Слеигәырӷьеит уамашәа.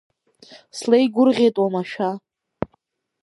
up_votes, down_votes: 2, 0